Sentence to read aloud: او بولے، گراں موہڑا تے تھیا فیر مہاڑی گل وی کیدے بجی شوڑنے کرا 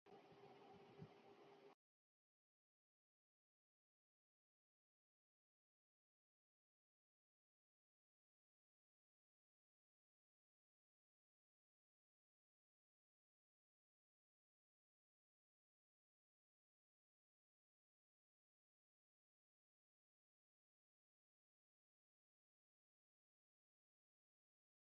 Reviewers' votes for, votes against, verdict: 0, 2, rejected